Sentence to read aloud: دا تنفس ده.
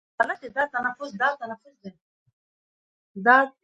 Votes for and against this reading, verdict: 0, 2, rejected